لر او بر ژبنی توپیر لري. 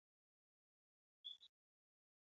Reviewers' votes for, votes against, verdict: 2, 0, accepted